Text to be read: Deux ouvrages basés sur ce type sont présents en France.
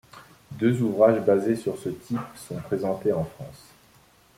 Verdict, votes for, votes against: rejected, 0, 2